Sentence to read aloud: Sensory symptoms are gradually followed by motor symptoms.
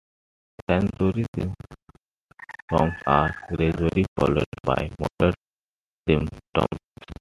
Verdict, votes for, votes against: rejected, 0, 2